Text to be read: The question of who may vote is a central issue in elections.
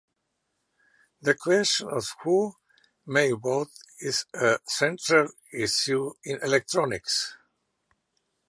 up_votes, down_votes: 0, 2